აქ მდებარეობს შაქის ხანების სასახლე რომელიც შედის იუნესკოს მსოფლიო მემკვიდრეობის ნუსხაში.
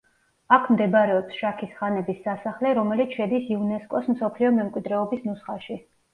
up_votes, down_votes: 2, 0